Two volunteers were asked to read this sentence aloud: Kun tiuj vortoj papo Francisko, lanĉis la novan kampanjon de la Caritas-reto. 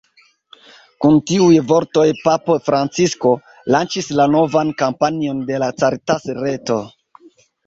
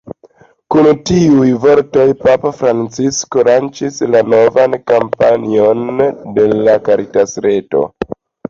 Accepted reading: first